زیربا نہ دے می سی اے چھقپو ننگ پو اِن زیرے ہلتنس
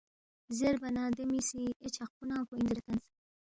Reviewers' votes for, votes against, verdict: 2, 0, accepted